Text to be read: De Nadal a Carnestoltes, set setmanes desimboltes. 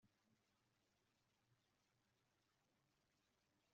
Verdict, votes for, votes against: rejected, 0, 2